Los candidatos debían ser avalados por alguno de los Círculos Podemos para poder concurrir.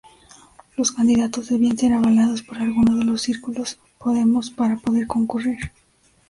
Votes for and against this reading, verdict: 2, 0, accepted